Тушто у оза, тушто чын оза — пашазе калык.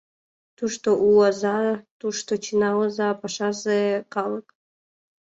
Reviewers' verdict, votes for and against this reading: rejected, 1, 2